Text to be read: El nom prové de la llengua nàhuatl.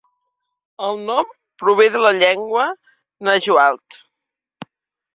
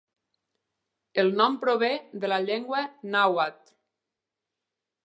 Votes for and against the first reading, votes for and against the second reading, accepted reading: 1, 2, 2, 0, second